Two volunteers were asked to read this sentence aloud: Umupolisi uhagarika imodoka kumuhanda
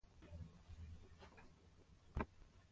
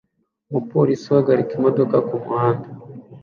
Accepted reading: second